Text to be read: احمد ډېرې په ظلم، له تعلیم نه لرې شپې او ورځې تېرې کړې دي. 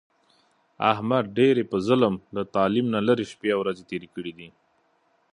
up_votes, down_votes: 1, 2